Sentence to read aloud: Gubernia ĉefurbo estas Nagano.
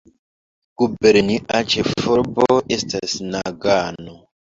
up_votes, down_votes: 0, 2